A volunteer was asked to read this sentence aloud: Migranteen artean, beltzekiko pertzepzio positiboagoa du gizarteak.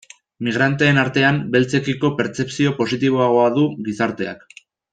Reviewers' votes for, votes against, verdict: 2, 0, accepted